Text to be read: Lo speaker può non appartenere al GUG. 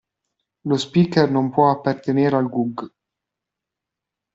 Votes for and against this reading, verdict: 1, 2, rejected